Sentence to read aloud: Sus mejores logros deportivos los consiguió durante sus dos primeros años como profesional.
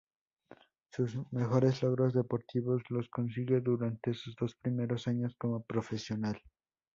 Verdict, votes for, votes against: accepted, 2, 0